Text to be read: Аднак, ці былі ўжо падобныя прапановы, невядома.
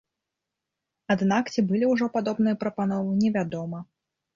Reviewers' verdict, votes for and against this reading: rejected, 1, 2